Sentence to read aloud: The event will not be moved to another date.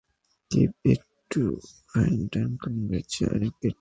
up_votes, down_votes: 0, 2